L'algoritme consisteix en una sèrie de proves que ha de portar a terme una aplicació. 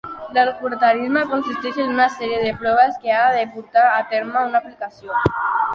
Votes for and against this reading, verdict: 0, 2, rejected